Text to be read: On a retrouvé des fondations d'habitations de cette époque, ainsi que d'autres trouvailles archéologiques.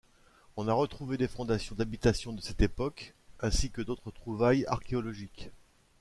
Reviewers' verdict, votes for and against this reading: accepted, 2, 1